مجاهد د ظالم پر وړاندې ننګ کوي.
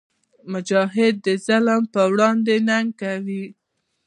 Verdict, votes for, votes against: rejected, 1, 2